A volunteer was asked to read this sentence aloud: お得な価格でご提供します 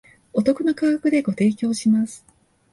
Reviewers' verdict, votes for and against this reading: accepted, 2, 0